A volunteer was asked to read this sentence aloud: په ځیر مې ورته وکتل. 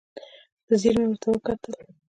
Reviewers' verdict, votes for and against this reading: accepted, 2, 0